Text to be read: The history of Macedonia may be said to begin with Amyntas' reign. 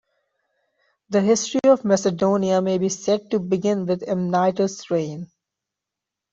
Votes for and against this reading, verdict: 0, 2, rejected